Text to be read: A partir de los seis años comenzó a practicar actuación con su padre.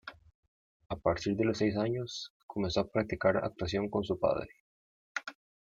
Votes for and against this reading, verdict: 1, 2, rejected